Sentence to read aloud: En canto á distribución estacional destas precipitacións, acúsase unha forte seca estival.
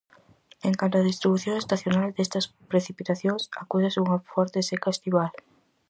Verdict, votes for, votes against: accepted, 4, 0